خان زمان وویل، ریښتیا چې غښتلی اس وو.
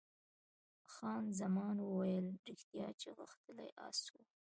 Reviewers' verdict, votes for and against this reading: rejected, 1, 2